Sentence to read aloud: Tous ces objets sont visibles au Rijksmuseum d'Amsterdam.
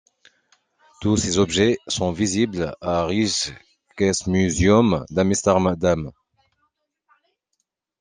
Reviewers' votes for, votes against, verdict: 0, 2, rejected